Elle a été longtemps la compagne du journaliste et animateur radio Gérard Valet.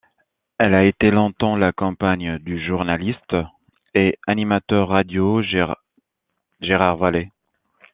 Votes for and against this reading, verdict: 0, 2, rejected